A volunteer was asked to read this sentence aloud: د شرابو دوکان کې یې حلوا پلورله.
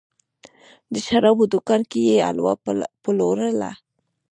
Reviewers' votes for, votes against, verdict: 1, 2, rejected